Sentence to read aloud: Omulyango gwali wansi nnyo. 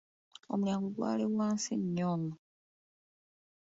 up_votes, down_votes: 2, 0